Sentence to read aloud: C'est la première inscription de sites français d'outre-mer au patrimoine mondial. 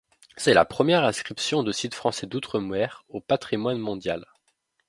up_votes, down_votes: 2, 0